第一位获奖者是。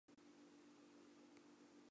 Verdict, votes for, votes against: rejected, 1, 3